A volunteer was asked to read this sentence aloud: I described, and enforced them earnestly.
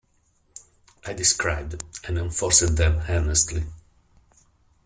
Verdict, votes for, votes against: accepted, 2, 0